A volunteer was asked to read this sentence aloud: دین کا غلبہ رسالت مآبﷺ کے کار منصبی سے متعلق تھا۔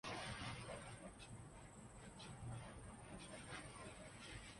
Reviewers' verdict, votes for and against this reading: rejected, 0, 4